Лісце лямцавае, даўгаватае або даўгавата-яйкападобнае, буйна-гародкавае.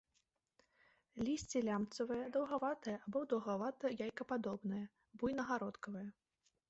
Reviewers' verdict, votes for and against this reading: accepted, 2, 0